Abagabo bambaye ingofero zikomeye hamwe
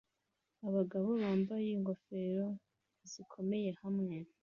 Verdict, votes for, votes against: accepted, 2, 0